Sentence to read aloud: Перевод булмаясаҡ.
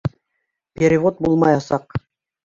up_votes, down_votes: 2, 0